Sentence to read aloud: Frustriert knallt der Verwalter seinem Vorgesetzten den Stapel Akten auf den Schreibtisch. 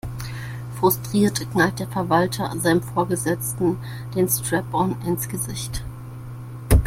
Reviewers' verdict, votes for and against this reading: rejected, 1, 2